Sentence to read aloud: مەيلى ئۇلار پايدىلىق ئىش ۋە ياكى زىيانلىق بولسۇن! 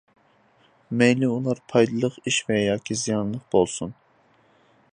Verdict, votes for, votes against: accepted, 2, 0